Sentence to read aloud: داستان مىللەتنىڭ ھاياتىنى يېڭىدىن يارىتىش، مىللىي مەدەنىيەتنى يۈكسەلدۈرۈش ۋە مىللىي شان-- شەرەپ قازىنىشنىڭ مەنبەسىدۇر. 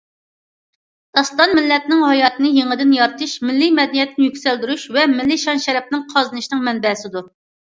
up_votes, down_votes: 0, 2